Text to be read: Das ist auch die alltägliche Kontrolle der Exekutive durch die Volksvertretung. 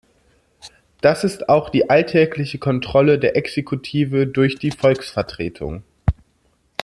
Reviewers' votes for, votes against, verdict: 2, 0, accepted